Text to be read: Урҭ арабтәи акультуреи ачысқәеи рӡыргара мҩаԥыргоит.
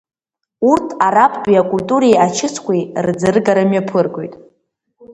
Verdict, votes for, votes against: rejected, 1, 2